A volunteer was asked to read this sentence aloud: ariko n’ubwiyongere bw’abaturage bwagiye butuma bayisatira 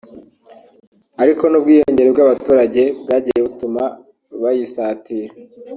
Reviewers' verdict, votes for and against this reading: accepted, 2, 0